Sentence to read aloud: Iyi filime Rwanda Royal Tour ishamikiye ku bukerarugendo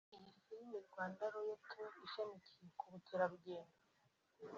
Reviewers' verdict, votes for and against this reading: rejected, 1, 2